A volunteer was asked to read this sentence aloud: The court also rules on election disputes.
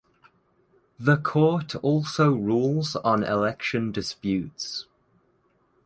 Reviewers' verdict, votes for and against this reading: accepted, 2, 0